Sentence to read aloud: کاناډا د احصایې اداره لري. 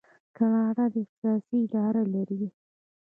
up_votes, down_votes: 2, 0